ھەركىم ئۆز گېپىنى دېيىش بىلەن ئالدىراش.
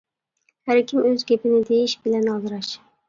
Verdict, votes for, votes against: accepted, 2, 0